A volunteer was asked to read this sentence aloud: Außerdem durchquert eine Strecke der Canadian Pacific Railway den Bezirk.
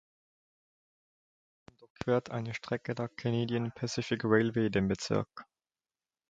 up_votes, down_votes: 0, 2